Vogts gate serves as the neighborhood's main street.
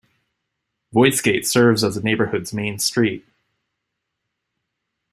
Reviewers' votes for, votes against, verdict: 0, 2, rejected